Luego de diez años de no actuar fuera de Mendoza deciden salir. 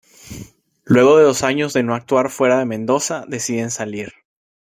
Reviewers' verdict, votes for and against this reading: rejected, 1, 2